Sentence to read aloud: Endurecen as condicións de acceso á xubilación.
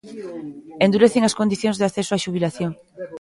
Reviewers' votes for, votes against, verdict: 2, 0, accepted